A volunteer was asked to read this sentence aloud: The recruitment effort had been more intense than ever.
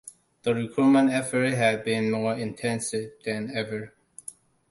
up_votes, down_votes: 1, 2